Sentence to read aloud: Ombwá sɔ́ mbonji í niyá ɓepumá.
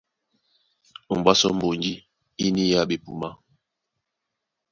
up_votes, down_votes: 2, 0